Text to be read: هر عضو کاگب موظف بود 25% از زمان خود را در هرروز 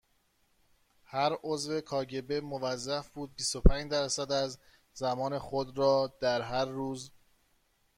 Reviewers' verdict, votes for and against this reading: rejected, 0, 2